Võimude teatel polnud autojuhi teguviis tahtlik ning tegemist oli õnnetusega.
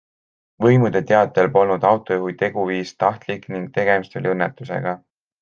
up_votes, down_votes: 2, 0